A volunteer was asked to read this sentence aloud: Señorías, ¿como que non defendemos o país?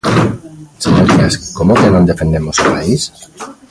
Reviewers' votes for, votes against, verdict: 0, 2, rejected